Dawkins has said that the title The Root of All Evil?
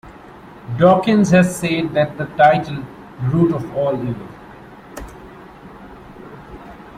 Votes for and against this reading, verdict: 2, 0, accepted